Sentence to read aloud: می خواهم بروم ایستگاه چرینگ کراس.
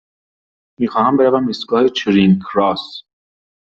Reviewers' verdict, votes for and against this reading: accepted, 2, 0